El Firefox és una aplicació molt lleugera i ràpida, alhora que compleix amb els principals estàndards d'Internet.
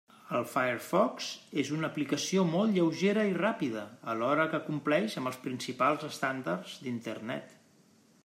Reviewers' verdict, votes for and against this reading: rejected, 0, 2